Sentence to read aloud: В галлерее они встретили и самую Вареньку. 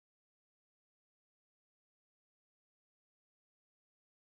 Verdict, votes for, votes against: rejected, 0, 2